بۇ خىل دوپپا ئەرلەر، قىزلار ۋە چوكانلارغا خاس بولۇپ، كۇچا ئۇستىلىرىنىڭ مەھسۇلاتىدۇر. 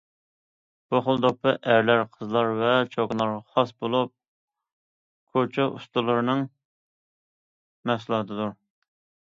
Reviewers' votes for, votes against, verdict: 0, 2, rejected